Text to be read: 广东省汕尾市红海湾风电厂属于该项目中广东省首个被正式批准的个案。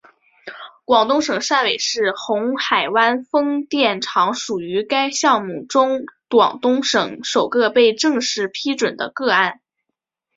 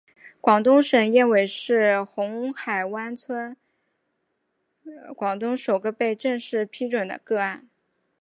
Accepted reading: first